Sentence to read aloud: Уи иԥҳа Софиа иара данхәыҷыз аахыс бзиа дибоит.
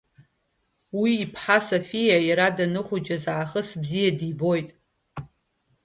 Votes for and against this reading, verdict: 2, 0, accepted